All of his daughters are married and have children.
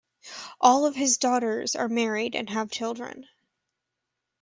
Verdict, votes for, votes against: accepted, 2, 0